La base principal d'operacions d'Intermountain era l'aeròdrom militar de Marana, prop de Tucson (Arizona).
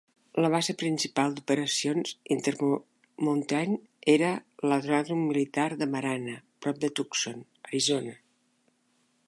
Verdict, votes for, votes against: rejected, 2, 3